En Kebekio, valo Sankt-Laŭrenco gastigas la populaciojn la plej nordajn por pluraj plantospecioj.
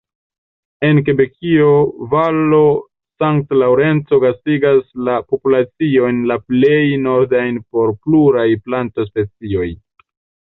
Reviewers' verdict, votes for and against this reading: rejected, 0, 2